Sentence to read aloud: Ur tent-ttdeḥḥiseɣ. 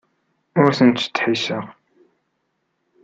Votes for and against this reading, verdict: 2, 1, accepted